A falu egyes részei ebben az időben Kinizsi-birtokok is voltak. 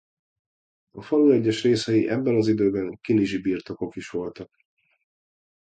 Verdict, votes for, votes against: accepted, 2, 1